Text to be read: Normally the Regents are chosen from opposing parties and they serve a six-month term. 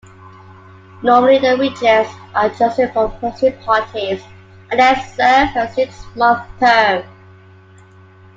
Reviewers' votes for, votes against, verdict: 2, 0, accepted